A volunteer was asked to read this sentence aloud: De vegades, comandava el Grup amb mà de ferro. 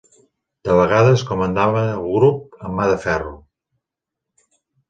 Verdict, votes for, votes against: accepted, 2, 0